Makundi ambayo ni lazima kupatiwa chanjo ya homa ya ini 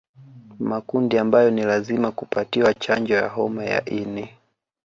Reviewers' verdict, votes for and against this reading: accepted, 2, 1